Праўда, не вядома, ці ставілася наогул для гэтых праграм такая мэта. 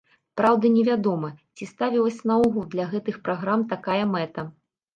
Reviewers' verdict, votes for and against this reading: rejected, 1, 2